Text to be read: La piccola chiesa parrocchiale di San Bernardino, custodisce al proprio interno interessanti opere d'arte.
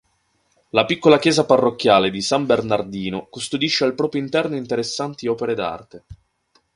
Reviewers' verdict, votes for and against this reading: accepted, 2, 0